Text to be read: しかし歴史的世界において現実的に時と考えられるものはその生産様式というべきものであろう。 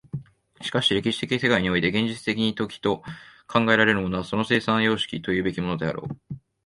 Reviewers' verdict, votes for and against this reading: rejected, 0, 2